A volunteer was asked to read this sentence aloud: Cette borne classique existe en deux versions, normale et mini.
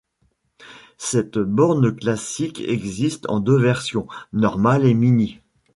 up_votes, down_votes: 1, 2